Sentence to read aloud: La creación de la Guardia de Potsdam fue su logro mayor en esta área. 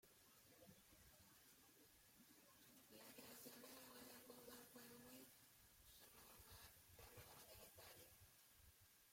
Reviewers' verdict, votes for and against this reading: rejected, 0, 2